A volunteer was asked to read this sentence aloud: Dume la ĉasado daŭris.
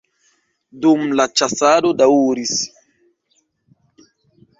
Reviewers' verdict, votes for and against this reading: rejected, 1, 2